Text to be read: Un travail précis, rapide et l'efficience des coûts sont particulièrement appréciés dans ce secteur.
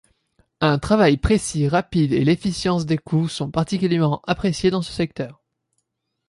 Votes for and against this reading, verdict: 2, 0, accepted